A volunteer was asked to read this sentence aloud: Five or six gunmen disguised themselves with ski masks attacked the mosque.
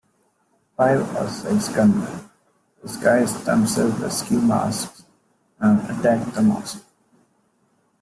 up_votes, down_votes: 0, 2